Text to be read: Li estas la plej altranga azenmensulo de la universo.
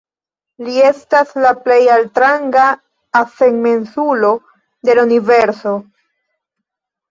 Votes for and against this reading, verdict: 2, 0, accepted